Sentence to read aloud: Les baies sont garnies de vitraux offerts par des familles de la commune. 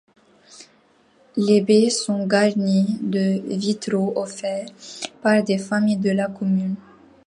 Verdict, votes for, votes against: accepted, 2, 0